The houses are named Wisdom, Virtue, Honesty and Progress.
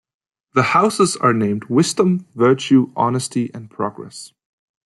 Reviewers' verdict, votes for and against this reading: accepted, 2, 0